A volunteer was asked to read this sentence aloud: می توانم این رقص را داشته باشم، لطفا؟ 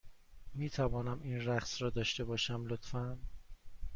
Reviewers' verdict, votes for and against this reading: accepted, 2, 0